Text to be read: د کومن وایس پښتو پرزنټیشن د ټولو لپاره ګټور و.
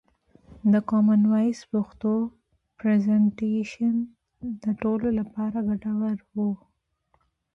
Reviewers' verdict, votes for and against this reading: accepted, 2, 0